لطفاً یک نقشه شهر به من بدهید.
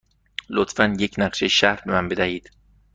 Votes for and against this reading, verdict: 2, 0, accepted